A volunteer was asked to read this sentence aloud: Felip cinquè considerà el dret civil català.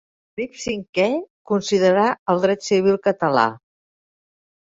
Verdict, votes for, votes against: rejected, 2, 3